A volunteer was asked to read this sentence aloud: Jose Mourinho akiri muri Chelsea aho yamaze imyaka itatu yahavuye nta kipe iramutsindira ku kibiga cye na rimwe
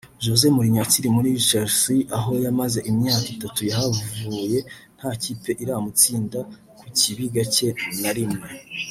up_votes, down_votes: 1, 2